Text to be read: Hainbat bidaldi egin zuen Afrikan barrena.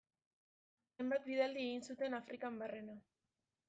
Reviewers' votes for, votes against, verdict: 0, 2, rejected